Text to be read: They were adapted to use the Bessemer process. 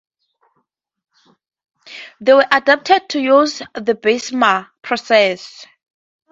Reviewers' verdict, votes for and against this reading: accepted, 4, 0